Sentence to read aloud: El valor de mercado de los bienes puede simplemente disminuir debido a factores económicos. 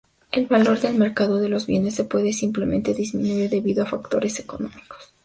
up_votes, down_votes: 0, 2